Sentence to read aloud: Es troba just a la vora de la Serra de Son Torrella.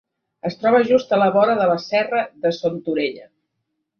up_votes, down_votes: 1, 2